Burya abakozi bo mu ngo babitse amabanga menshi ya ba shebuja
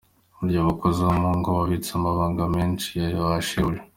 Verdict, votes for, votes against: accepted, 2, 1